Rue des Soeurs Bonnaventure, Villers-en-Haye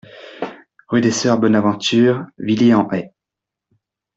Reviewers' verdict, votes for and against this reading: rejected, 0, 2